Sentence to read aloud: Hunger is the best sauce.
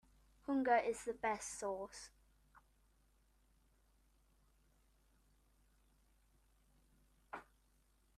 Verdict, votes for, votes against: accepted, 3, 0